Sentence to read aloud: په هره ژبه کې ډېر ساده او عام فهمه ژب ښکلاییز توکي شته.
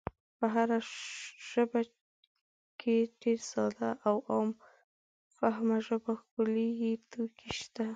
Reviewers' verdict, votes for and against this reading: rejected, 0, 2